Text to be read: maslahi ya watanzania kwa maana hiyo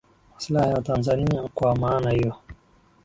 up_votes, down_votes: 5, 3